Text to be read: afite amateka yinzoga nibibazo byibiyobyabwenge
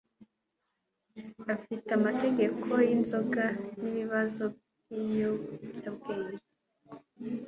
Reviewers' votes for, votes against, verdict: 0, 2, rejected